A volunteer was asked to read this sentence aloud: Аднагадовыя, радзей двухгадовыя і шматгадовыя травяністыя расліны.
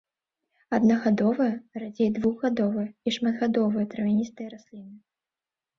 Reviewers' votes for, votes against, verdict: 2, 5, rejected